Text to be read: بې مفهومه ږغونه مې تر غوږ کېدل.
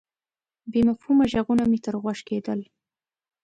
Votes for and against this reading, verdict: 2, 0, accepted